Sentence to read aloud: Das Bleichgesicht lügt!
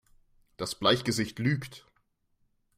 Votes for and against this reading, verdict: 2, 0, accepted